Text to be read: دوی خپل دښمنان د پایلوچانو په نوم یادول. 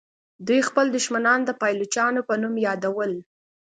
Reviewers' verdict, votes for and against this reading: accepted, 2, 0